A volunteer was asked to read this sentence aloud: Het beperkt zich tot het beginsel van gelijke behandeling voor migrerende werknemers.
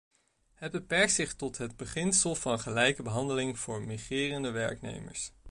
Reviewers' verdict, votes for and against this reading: accepted, 2, 0